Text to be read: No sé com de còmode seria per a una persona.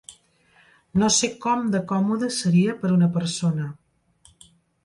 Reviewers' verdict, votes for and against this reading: accepted, 2, 0